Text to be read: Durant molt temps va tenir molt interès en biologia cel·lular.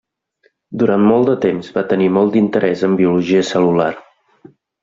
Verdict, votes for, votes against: rejected, 0, 2